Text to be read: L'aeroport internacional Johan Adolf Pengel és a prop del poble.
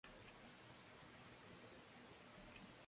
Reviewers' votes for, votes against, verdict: 0, 2, rejected